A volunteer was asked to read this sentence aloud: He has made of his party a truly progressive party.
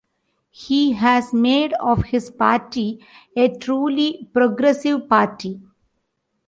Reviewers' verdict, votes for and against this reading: accepted, 2, 0